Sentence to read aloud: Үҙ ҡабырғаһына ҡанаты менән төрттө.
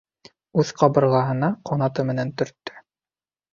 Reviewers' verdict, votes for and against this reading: accepted, 2, 0